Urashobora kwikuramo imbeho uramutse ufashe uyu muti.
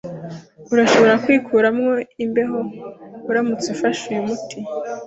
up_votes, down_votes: 2, 1